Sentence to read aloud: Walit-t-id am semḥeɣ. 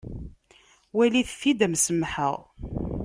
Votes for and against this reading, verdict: 1, 2, rejected